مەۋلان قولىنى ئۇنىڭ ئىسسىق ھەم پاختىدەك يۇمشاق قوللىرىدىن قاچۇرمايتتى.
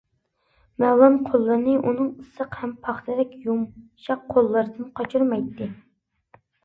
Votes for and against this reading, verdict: 2, 0, accepted